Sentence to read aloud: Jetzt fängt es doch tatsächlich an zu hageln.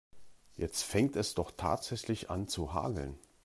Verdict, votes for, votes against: accepted, 2, 0